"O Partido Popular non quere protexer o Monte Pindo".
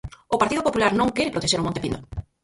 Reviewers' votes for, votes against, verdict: 0, 4, rejected